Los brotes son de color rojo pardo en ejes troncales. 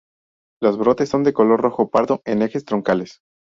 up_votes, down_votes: 2, 0